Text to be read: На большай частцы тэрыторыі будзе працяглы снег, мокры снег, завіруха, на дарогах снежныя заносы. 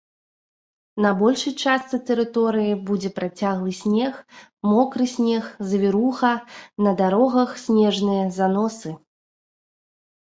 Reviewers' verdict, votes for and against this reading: accepted, 2, 0